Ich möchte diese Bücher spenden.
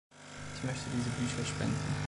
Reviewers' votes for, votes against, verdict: 2, 0, accepted